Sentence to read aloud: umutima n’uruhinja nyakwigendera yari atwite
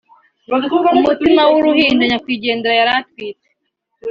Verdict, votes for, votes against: rejected, 1, 2